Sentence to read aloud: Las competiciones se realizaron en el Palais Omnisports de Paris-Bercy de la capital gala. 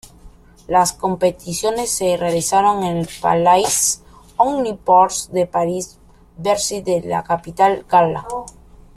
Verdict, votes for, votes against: accepted, 2, 0